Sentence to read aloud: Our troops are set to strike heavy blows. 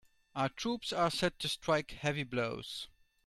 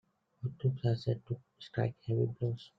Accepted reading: first